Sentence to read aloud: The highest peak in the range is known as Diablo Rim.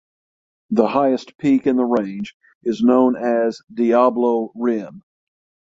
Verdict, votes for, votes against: accepted, 6, 0